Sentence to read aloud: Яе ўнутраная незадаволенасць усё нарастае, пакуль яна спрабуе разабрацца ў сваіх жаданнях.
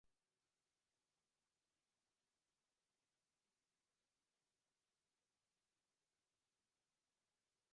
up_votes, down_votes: 0, 2